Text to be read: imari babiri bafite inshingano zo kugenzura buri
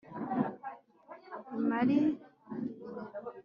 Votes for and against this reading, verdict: 2, 4, rejected